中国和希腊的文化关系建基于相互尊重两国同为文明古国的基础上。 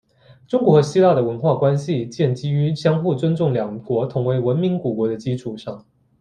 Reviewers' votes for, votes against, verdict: 2, 0, accepted